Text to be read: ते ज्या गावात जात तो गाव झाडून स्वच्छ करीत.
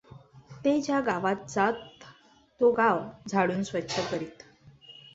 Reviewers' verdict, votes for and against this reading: accepted, 2, 0